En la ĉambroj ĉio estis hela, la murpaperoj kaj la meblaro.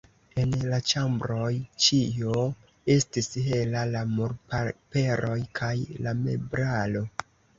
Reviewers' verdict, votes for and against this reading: rejected, 1, 2